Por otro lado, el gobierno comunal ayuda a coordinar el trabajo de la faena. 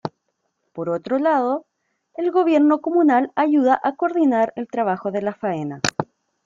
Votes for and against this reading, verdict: 2, 0, accepted